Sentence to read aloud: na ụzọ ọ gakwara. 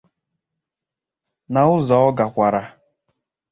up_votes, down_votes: 2, 0